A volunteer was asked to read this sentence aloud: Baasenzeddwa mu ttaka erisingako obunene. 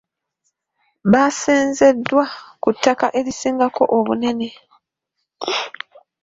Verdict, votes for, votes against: rejected, 0, 2